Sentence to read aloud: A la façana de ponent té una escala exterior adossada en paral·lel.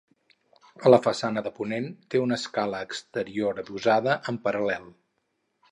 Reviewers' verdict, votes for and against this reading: rejected, 2, 2